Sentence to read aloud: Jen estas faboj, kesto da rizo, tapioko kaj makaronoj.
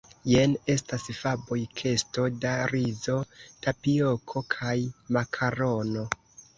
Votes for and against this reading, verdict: 0, 2, rejected